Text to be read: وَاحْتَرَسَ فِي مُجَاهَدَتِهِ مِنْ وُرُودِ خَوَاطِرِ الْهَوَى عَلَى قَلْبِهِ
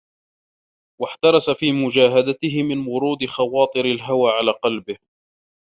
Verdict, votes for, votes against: rejected, 0, 2